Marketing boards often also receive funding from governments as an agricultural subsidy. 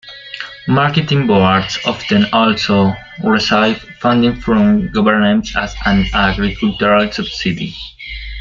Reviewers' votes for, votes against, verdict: 1, 2, rejected